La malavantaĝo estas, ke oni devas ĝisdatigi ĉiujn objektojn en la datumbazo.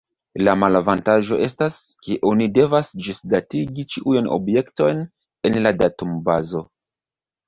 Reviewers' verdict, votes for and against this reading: rejected, 1, 2